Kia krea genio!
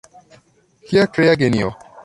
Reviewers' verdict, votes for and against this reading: accepted, 2, 1